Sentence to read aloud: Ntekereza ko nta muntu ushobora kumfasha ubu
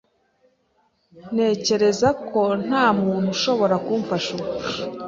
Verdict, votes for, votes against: accepted, 2, 0